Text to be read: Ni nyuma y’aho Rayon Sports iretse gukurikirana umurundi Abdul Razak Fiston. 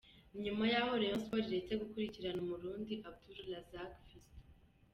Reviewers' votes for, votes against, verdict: 1, 2, rejected